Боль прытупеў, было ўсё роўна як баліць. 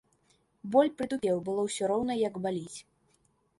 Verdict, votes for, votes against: accepted, 2, 0